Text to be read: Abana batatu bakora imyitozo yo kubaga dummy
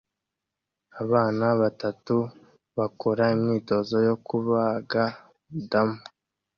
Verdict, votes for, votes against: rejected, 0, 2